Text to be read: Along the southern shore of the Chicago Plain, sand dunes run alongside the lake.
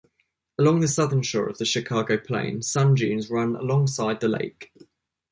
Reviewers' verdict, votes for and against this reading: accepted, 2, 0